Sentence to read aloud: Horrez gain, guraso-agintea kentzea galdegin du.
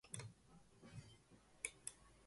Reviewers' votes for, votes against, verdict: 0, 2, rejected